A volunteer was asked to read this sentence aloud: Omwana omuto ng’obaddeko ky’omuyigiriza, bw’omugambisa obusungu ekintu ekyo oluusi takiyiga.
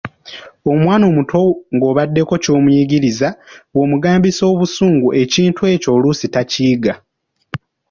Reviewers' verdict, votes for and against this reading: accepted, 3, 1